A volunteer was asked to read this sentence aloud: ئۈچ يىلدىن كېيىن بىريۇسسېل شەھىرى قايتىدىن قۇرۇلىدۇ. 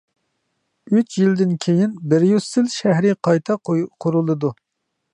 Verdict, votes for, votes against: rejected, 0, 2